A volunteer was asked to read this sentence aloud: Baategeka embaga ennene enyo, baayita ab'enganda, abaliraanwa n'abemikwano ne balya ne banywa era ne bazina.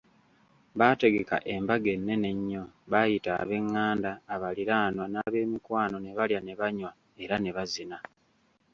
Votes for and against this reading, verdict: 2, 0, accepted